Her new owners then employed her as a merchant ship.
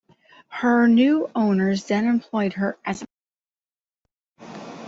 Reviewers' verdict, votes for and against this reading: rejected, 0, 2